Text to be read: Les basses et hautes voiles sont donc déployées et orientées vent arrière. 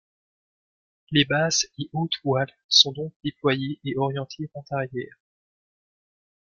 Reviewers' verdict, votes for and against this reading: accepted, 2, 0